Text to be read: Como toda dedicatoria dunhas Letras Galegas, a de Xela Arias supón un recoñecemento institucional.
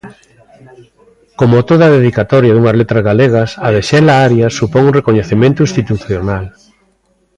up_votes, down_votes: 2, 0